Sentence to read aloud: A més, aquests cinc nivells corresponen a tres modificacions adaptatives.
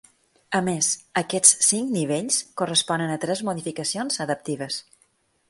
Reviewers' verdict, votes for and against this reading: rejected, 0, 2